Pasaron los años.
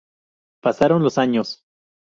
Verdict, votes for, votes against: accepted, 2, 0